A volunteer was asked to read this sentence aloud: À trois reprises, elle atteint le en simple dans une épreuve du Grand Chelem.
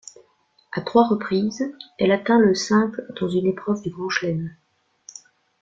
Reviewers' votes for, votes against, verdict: 0, 2, rejected